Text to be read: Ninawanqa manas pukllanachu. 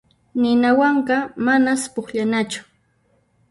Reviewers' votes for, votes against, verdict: 0, 2, rejected